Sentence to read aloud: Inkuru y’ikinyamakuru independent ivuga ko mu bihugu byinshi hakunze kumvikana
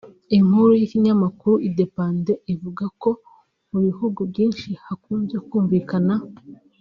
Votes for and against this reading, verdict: 1, 2, rejected